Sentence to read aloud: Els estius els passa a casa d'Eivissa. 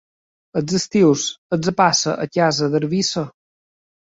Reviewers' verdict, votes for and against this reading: accepted, 2, 1